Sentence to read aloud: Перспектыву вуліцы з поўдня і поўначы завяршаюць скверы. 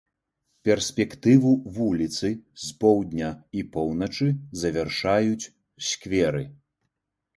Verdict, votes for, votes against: accepted, 2, 0